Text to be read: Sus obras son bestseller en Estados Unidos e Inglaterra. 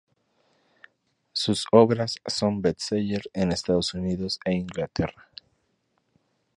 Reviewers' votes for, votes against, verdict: 0, 2, rejected